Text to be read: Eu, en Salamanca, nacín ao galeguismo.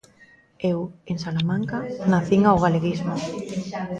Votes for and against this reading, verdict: 2, 0, accepted